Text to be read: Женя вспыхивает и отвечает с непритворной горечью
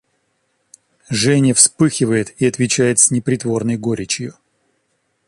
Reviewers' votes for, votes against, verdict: 2, 0, accepted